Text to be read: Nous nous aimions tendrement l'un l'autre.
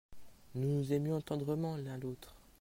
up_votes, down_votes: 2, 0